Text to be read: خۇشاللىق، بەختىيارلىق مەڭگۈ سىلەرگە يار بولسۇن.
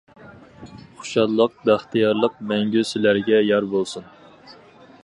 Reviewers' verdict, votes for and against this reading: accepted, 4, 0